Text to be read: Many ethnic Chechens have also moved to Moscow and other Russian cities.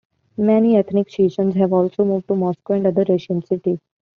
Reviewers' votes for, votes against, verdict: 2, 1, accepted